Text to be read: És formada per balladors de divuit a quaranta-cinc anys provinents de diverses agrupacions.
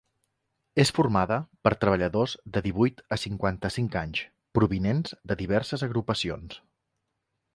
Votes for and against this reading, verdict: 1, 2, rejected